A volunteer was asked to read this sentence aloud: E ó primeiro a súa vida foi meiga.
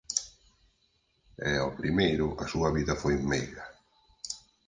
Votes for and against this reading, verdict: 4, 2, accepted